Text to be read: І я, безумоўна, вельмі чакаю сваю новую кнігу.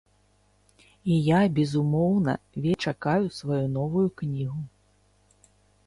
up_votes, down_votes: 0, 3